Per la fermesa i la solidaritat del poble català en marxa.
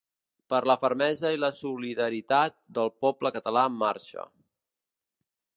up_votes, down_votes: 3, 0